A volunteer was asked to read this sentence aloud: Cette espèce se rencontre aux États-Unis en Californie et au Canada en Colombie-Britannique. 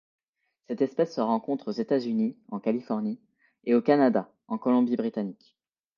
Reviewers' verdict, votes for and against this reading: accepted, 2, 0